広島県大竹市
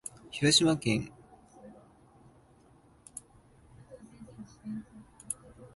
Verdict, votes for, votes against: rejected, 0, 2